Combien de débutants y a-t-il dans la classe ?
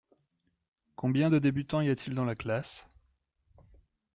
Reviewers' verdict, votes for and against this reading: accepted, 2, 0